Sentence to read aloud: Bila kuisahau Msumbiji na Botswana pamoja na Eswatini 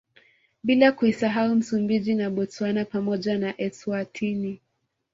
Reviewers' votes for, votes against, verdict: 3, 2, accepted